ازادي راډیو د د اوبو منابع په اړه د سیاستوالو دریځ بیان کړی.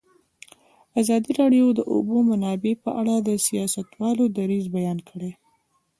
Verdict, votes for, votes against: rejected, 0, 2